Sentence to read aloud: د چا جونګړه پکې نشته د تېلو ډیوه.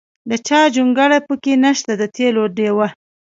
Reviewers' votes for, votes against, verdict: 0, 2, rejected